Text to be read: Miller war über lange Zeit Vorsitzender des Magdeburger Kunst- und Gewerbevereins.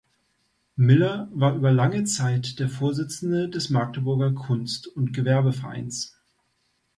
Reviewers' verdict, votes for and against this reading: rejected, 1, 2